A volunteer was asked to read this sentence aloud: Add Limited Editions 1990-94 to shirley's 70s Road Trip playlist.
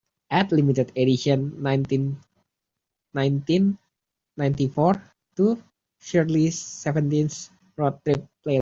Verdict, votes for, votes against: rejected, 0, 2